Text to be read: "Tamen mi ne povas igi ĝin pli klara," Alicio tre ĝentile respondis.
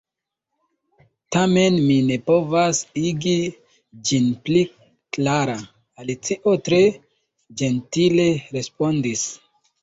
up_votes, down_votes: 1, 2